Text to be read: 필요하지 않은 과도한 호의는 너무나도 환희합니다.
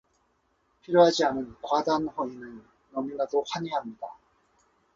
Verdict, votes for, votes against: rejected, 0, 2